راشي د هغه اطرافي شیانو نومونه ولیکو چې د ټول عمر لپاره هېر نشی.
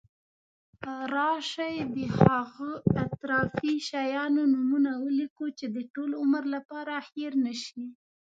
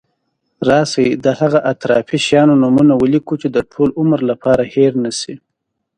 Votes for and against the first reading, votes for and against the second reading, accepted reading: 0, 2, 2, 0, second